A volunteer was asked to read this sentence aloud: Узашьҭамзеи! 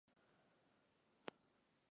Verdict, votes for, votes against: rejected, 0, 2